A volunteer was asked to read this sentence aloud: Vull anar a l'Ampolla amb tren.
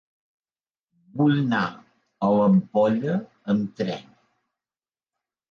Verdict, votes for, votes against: rejected, 0, 2